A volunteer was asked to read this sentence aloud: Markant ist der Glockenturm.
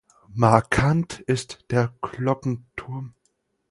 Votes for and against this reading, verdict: 4, 0, accepted